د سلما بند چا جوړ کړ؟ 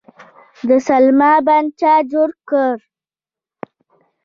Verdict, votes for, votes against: rejected, 0, 2